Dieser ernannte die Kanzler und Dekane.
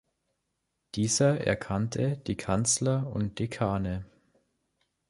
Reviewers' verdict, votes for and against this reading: rejected, 0, 2